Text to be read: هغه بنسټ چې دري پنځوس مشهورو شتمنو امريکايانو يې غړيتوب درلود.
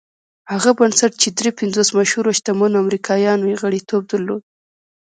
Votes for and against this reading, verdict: 2, 0, accepted